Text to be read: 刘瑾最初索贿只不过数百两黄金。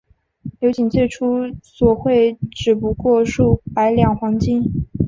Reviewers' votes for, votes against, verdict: 2, 0, accepted